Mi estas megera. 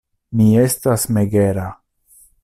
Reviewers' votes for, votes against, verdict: 2, 0, accepted